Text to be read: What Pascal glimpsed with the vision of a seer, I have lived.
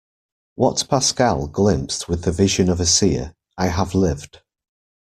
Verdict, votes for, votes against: accepted, 2, 0